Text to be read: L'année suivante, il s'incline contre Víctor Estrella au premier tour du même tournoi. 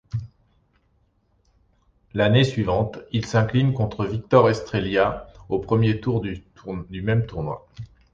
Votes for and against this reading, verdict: 0, 2, rejected